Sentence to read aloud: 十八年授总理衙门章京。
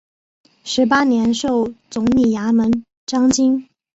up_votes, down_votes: 4, 0